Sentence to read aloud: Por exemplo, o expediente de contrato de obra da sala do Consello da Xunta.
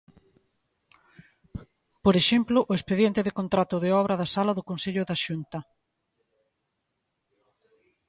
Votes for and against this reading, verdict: 2, 0, accepted